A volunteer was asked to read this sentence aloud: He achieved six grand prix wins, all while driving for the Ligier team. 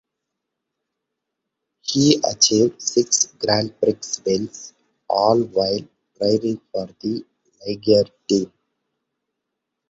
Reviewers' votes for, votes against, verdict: 1, 2, rejected